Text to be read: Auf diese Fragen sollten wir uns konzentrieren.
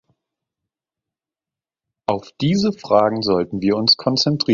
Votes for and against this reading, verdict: 0, 3, rejected